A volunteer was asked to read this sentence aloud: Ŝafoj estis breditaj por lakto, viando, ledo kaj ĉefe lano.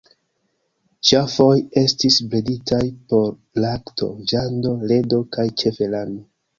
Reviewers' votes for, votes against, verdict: 2, 0, accepted